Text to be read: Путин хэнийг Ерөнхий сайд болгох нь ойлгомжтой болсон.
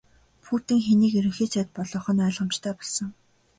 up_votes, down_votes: 5, 0